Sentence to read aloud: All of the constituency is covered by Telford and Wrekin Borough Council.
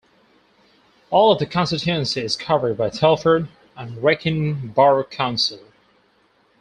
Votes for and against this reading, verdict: 0, 2, rejected